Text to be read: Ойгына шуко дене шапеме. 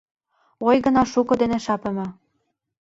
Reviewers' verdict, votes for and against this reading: rejected, 0, 2